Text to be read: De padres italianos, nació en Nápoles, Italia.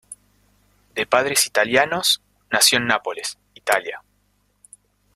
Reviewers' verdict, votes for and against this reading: accepted, 2, 0